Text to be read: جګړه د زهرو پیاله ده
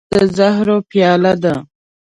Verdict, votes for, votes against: rejected, 2, 3